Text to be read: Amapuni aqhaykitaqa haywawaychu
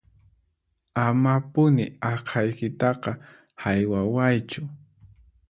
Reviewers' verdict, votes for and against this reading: accepted, 4, 0